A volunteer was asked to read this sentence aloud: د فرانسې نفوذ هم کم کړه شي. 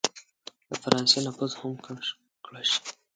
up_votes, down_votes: 4, 2